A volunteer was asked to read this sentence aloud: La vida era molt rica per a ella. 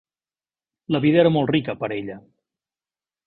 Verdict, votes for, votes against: rejected, 1, 2